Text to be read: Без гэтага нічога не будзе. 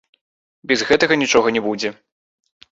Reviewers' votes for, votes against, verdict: 1, 3, rejected